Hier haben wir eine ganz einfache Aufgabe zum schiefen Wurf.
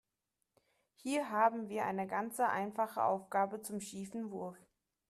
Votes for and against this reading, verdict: 0, 2, rejected